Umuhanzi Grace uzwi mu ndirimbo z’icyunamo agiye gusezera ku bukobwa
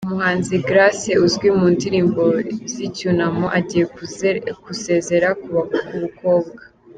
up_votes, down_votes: 0, 2